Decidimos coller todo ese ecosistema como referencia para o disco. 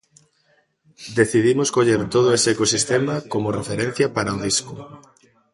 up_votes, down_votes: 1, 2